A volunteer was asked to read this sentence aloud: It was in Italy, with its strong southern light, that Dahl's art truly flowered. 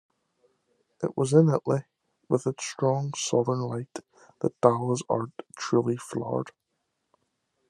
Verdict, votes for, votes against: accepted, 2, 0